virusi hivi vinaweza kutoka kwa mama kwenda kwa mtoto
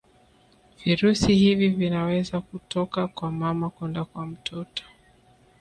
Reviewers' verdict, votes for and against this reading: accepted, 3, 1